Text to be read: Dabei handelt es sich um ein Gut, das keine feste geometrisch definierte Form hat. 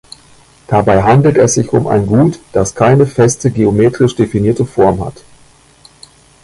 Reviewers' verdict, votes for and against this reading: rejected, 1, 2